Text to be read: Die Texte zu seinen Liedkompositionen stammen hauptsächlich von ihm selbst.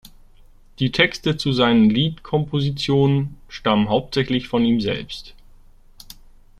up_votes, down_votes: 2, 0